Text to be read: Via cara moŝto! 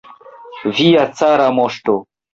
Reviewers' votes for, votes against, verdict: 2, 1, accepted